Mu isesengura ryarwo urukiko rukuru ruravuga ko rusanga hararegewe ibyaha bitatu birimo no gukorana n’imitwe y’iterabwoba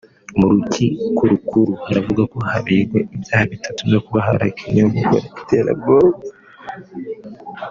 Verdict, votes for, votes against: rejected, 1, 2